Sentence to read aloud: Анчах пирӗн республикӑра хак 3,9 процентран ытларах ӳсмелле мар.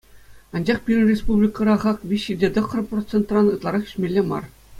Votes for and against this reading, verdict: 0, 2, rejected